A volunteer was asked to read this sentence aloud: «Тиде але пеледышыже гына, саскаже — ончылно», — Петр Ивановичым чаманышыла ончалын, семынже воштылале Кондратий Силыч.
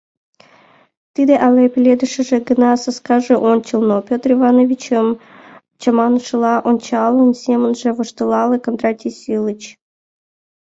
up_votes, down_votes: 2, 0